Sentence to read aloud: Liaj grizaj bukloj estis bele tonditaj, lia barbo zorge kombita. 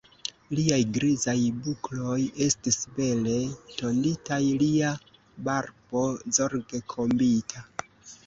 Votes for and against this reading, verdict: 1, 2, rejected